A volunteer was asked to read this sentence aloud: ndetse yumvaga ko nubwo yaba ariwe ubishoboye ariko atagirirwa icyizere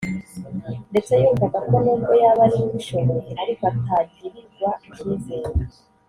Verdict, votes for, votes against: rejected, 0, 2